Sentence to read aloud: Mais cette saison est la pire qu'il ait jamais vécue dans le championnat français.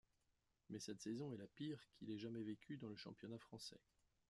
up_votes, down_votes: 2, 1